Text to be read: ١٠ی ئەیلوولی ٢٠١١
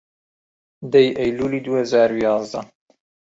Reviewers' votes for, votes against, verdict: 0, 2, rejected